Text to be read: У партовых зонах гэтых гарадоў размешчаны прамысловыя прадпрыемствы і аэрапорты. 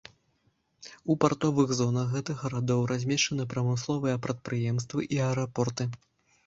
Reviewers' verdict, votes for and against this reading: accepted, 2, 0